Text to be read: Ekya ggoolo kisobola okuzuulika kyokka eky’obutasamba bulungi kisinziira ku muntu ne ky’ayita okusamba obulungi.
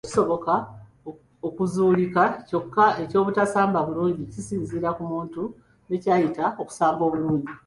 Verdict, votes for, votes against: rejected, 0, 2